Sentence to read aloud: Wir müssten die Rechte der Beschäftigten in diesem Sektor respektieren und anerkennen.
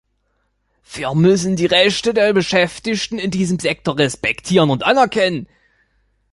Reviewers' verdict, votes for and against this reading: accepted, 2, 0